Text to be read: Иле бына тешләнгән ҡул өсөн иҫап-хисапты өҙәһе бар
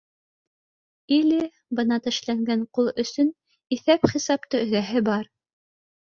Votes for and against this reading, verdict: 2, 0, accepted